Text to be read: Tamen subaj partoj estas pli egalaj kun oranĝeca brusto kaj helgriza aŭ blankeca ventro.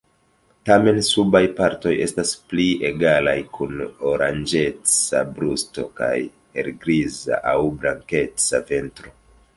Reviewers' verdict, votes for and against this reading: rejected, 1, 2